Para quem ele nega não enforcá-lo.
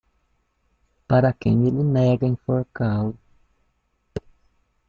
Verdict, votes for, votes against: rejected, 0, 2